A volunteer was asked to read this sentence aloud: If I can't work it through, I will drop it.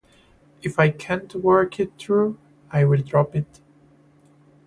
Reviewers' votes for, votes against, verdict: 2, 0, accepted